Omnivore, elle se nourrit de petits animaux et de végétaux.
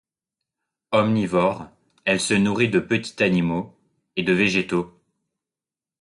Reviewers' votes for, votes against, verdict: 1, 2, rejected